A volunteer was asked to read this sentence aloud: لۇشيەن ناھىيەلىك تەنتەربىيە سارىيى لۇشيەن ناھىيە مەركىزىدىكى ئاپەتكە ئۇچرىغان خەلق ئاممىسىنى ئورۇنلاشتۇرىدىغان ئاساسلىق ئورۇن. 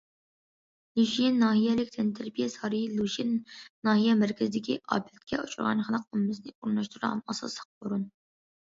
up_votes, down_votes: 2, 0